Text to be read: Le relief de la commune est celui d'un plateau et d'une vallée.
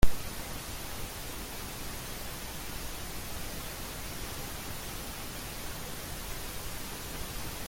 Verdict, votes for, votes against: rejected, 0, 2